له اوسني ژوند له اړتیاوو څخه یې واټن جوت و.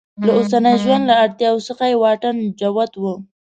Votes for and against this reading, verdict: 1, 2, rejected